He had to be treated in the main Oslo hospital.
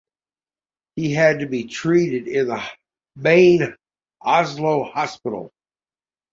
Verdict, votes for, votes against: accepted, 2, 0